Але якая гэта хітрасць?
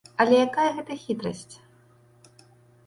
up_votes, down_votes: 2, 0